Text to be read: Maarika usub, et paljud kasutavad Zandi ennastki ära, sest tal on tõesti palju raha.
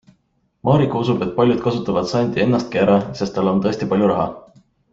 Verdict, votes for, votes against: accepted, 2, 0